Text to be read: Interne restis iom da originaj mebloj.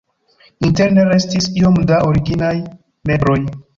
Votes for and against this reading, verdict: 1, 2, rejected